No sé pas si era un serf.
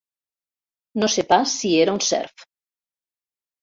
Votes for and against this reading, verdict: 0, 2, rejected